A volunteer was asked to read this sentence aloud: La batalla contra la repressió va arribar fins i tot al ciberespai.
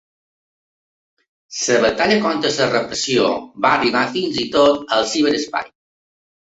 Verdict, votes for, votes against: rejected, 3, 4